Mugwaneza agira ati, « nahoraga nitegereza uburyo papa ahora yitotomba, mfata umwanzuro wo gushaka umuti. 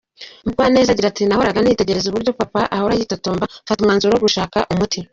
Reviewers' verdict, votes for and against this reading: accepted, 2, 0